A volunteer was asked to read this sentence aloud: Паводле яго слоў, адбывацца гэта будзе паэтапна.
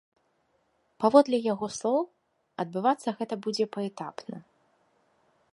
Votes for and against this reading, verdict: 2, 0, accepted